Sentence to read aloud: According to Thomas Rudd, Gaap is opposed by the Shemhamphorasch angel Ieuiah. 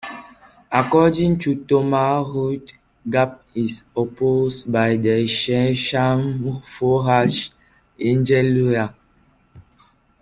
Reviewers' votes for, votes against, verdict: 2, 0, accepted